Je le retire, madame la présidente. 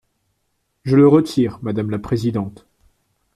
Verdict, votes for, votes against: accepted, 2, 0